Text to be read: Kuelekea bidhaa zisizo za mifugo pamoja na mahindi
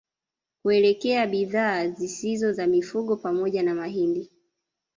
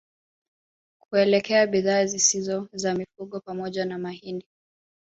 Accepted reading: second